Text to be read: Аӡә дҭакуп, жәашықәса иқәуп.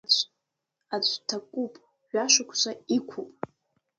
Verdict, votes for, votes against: accepted, 2, 0